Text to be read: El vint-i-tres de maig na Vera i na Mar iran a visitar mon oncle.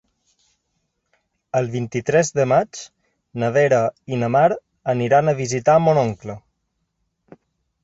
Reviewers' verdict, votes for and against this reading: rejected, 2, 3